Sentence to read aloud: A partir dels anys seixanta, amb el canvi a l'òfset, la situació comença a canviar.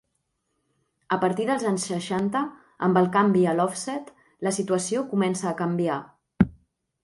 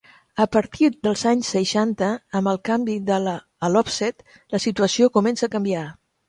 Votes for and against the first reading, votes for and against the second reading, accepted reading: 2, 0, 1, 2, first